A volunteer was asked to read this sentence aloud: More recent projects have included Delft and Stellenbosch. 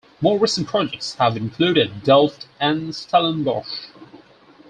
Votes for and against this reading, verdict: 4, 0, accepted